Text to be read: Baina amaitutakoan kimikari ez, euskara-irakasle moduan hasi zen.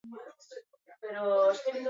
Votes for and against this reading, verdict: 0, 6, rejected